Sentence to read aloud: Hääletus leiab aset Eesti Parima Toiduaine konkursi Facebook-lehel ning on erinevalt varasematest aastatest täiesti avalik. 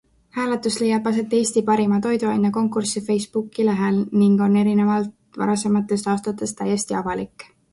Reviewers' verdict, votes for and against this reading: rejected, 1, 2